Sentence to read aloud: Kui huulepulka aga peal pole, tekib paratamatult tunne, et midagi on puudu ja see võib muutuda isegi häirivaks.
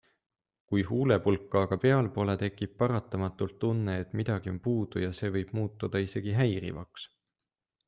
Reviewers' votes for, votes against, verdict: 2, 0, accepted